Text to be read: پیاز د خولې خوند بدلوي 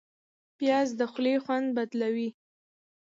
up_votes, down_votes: 2, 0